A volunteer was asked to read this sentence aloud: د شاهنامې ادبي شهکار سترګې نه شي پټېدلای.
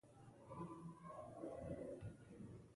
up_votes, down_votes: 1, 2